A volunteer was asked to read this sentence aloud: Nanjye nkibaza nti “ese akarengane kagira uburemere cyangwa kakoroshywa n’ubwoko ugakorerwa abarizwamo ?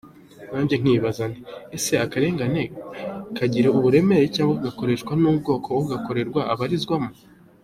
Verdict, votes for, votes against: accepted, 2, 0